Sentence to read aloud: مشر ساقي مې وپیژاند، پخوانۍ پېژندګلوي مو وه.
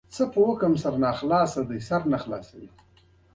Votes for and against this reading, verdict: 2, 0, accepted